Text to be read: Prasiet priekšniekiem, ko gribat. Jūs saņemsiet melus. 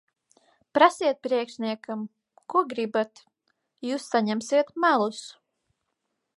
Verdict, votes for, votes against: rejected, 0, 4